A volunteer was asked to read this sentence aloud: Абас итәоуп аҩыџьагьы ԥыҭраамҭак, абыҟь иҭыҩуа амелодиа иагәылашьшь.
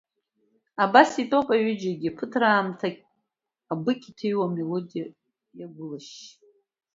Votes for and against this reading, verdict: 1, 2, rejected